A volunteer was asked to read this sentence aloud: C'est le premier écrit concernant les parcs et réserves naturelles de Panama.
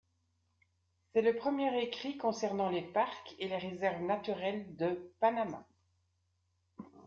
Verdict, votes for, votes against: rejected, 0, 2